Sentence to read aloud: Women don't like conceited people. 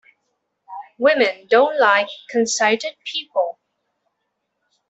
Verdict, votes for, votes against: rejected, 0, 2